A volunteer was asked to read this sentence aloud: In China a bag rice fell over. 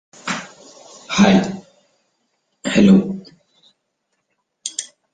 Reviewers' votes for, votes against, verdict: 0, 2, rejected